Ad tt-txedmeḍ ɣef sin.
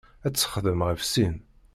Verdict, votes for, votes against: rejected, 0, 2